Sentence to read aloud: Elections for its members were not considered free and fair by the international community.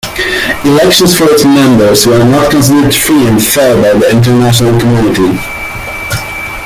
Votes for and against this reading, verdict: 2, 1, accepted